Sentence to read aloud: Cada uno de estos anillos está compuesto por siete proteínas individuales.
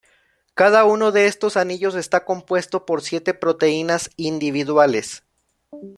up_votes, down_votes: 2, 0